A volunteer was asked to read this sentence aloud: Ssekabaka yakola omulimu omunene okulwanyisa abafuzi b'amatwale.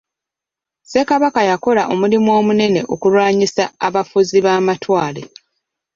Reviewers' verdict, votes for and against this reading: accepted, 2, 1